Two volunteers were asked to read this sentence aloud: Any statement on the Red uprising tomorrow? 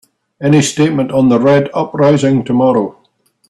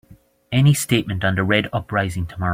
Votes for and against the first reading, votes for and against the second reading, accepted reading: 3, 0, 0, 2, first